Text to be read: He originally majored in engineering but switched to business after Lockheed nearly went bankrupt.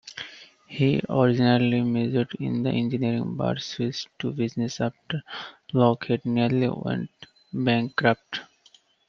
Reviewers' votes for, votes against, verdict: 1, 2, rejected